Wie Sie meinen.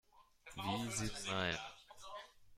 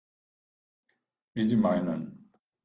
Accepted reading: second